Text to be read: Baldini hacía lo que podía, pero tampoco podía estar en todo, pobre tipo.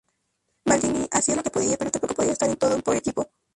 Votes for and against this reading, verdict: 0, 2, rejected